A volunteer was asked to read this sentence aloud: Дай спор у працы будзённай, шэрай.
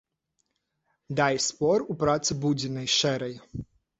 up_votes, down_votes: 0, 2